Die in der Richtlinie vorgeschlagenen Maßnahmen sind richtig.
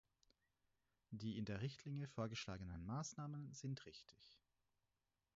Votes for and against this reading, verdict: 2, 4, rejected